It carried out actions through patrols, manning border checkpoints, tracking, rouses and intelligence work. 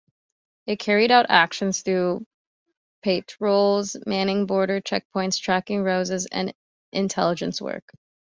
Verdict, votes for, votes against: rejected, 0, 2